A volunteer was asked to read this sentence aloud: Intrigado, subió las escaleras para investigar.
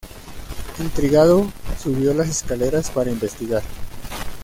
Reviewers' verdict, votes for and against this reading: accepted, 2, 1